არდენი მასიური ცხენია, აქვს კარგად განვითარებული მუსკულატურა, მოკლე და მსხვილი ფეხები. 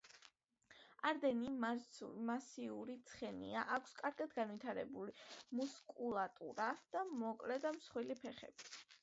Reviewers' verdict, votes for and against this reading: rejected, 0, 2